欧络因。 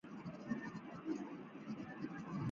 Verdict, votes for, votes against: rejected, 1, 3